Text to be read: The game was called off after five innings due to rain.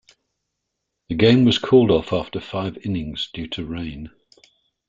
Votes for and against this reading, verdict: 2, 0, accepted